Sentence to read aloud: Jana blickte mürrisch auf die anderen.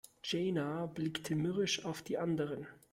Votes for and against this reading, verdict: 0, 2, rejected